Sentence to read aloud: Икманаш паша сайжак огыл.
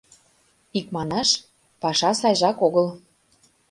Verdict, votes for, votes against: accepted, 2, 0